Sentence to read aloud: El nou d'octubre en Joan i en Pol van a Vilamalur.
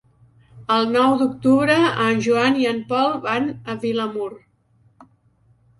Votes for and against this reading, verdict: 0, 2, rejected